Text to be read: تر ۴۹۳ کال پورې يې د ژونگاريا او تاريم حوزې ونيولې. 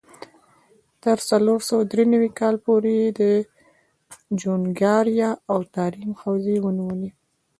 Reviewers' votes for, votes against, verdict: 0, 2, rejected